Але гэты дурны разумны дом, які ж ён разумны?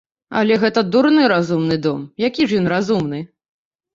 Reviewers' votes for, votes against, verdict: 1, 2, rejected